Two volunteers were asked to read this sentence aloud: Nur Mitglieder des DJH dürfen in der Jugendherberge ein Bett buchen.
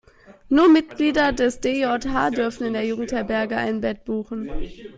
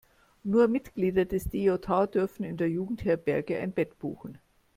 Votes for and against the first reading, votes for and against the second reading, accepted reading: 0, 2, 2, 0, second